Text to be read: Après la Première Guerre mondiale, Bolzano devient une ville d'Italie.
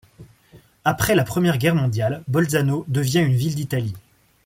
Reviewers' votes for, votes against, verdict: 2, 0, accepted